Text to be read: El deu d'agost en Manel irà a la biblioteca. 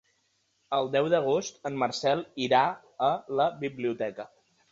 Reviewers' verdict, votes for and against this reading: rejected, 0, 2